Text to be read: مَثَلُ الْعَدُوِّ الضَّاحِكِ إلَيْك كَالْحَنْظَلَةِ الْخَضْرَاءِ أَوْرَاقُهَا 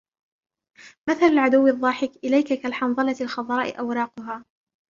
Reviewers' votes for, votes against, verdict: 1, 2, rejected